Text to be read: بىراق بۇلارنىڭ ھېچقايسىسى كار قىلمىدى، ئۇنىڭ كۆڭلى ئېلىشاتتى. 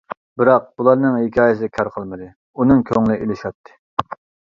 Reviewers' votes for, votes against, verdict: 0, 2, rejected